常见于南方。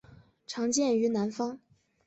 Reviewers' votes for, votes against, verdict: 2, 0, accepted